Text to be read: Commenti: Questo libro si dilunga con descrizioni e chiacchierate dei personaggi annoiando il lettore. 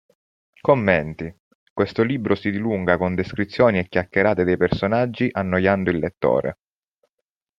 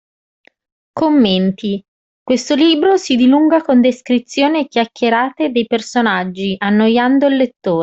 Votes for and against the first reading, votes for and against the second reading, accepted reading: 2, 0, 0, 2, first